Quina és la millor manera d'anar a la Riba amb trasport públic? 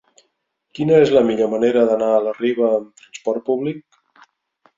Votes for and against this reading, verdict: 2, 4, rejected